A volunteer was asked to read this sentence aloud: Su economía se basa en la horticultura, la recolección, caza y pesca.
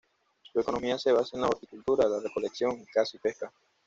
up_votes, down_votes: 2, 0